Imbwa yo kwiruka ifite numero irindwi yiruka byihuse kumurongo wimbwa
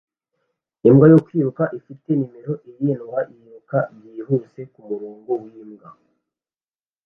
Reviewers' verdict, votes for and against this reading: accepted, 2, 0